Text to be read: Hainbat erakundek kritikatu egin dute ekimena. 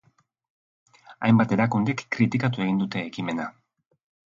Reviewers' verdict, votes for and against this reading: accepted, 2, 1